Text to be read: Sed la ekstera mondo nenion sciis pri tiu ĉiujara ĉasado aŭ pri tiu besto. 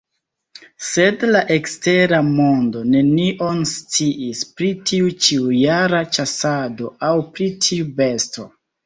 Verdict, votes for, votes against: rejected, 1, 2